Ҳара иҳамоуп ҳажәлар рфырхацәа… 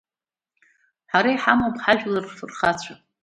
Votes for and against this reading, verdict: 2, 0, accepted